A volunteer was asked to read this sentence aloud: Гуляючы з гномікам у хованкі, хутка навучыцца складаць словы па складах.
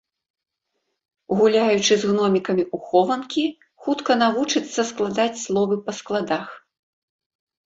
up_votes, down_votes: 1, 2